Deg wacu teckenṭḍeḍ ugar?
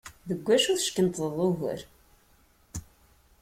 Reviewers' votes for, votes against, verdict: 2, 0, accepted